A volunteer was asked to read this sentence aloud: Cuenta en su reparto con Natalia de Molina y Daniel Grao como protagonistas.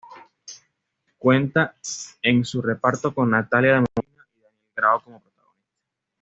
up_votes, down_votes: 1, 2